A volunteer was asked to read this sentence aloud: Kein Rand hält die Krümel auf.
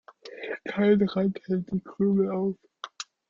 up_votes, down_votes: 1, 2